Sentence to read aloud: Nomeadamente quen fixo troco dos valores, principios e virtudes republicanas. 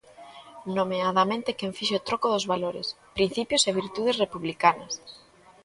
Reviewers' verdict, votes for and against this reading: accepted, 2, 0